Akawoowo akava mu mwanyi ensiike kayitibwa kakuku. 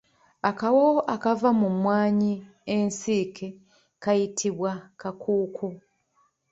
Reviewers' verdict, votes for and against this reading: accepted, 2, 0